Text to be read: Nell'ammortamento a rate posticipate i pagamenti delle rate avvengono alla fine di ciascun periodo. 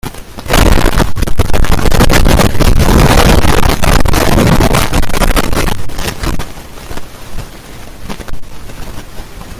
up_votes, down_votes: 0, 2